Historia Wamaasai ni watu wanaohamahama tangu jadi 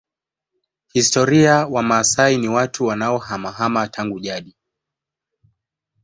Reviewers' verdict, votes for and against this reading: rejected, 1, 2